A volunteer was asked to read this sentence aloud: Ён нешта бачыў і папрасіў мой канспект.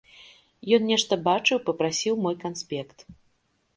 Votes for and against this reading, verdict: 0, 2, rejected